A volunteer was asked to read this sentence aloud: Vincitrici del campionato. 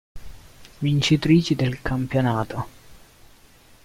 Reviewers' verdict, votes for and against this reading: accepted, 2, 0